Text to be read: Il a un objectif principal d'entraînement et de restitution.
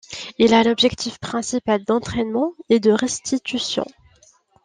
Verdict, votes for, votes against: rejected, 0, 2